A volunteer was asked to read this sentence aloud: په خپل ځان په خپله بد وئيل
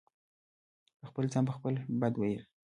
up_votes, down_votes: 2, 0